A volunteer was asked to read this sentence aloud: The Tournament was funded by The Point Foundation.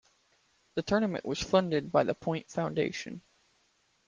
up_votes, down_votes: 2, 0